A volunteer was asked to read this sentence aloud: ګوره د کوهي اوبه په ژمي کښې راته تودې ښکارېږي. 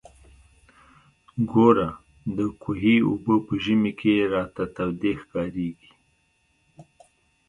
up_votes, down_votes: 2, 0